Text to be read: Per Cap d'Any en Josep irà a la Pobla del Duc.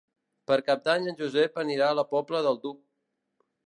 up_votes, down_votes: 0, 2